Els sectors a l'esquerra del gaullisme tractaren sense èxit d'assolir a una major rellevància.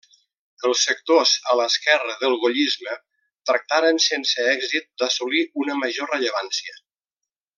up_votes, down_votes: 0, 2